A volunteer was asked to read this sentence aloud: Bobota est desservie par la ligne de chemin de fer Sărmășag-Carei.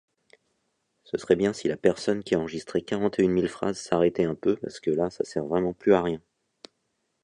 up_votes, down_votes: 0, 2